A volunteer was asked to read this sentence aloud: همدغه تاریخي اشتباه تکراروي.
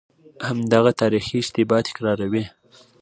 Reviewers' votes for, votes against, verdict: 2, 0, accepted